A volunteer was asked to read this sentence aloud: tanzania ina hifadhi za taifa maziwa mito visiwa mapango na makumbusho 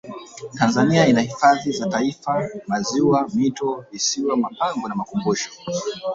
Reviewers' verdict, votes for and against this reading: rejected, 0, 2